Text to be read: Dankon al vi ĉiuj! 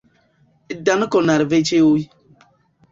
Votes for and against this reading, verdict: 1, 2, rejected